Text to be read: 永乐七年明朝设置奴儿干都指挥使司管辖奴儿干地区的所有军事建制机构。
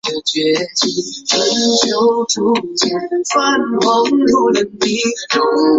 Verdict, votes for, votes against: rejected, 1, 2